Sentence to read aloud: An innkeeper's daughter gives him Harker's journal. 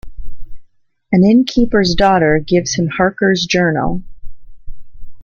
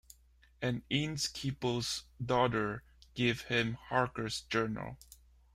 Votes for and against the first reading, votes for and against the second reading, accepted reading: 2, 0, 0, 2, first